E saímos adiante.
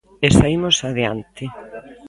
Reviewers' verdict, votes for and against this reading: accepted, 2, 0